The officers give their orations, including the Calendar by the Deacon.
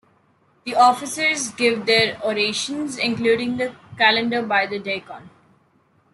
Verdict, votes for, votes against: rejected, 0, 2